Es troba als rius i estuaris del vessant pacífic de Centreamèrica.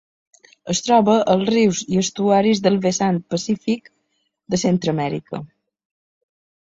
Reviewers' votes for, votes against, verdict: 2, 0, accepted